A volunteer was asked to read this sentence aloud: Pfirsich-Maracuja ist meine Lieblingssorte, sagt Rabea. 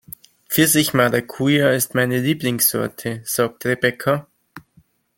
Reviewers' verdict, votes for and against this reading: rejected, 0, 2